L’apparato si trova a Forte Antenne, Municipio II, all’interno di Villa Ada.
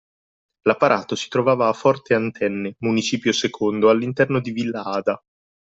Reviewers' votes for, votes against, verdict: 0, 2, rejected